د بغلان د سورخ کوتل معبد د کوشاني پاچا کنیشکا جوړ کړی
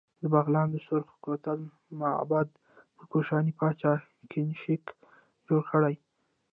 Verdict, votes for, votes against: rejected, 1, 2